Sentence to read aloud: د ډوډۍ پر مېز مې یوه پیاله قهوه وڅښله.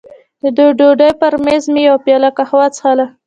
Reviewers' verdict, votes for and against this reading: rejected, 0, 2